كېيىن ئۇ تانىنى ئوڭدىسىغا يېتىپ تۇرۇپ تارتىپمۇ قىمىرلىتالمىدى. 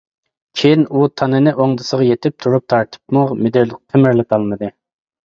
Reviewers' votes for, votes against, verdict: 0, 2, rejected